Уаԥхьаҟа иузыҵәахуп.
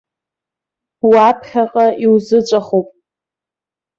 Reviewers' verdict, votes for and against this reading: accepted, 2, 0